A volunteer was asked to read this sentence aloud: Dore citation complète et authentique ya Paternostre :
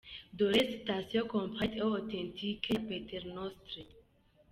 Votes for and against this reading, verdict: 2, 1, accepted